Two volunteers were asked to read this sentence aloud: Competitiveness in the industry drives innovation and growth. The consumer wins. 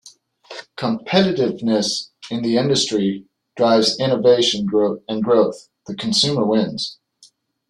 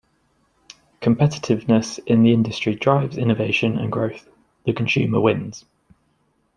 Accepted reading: second